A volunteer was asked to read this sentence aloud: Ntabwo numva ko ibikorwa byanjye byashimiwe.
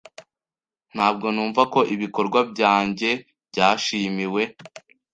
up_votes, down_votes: 2, 0